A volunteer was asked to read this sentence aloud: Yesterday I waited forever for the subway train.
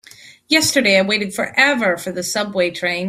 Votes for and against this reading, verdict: 2, 0, accepted